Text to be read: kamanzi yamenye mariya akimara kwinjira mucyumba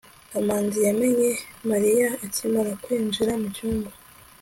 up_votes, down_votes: 2, 0